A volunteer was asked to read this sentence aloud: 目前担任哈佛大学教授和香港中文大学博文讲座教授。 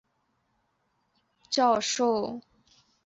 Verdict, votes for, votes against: rejected, 2, 3